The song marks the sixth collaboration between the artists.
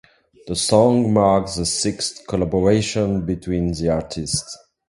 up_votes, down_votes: 2, 0